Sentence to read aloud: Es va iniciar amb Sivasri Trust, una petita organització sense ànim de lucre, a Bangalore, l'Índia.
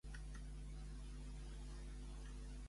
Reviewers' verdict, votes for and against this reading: rejected, 0, 2